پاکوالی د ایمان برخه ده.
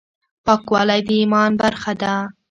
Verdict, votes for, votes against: rejected, 1, 2